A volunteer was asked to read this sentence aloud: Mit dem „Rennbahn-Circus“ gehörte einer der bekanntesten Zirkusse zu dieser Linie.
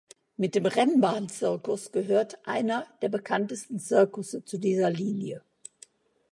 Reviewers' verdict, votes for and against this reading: rejected, 0, 2